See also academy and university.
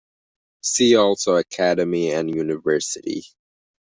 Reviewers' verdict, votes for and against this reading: accepted, 2, 0